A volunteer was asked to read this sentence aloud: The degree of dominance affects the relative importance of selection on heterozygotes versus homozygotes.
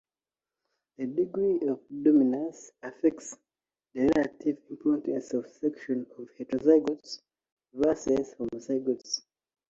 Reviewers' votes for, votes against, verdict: 2, 0, accepted